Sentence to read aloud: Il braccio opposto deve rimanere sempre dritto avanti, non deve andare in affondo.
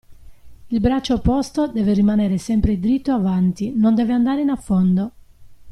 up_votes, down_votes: 2, 1